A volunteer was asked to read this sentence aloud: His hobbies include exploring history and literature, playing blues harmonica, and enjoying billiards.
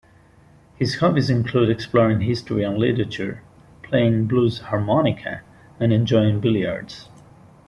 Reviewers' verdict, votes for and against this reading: rejected, 1, 2